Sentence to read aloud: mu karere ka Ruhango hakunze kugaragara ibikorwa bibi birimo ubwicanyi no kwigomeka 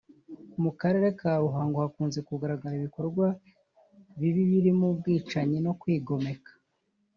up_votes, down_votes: 2, 0